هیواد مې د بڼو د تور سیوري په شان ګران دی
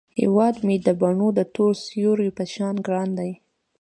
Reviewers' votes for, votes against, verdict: 2, 0, accepted